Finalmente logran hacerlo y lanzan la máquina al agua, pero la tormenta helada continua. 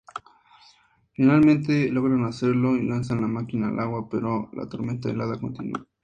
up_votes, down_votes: 2, 0